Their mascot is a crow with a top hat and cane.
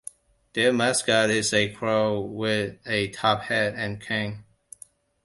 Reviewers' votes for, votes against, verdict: 2, 1, accepted